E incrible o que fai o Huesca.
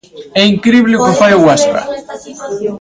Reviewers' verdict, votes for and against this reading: rejected, 0, 2